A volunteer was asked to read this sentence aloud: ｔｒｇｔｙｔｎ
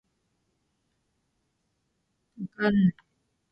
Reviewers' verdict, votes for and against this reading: rejected, 5, 9